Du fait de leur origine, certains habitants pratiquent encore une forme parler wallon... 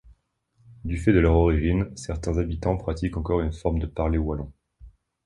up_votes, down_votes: 1, 3